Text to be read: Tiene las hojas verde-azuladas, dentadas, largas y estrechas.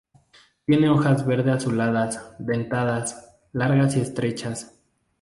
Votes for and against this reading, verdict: 0, 2, rejected